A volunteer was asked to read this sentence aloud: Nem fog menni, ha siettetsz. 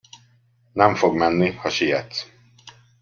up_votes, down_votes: 1, 2